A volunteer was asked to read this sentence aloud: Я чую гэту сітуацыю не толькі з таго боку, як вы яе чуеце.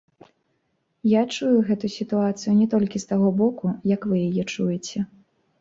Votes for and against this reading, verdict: 2, 0, accepted